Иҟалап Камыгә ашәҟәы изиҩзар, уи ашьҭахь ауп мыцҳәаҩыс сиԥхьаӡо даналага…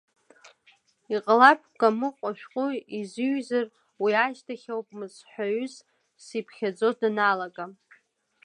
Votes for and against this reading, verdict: 1, 2, rejected